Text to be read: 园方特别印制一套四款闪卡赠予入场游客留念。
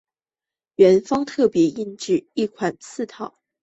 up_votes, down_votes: 1, 2